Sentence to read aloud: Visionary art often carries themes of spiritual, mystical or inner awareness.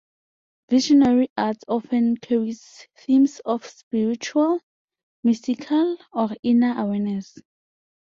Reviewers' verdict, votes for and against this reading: accepted, 2, 0